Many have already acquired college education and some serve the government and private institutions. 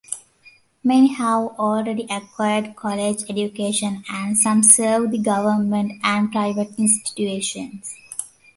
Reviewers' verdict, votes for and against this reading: accepted, 2, 0